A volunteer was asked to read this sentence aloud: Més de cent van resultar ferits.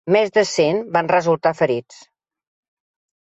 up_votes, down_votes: 2, 0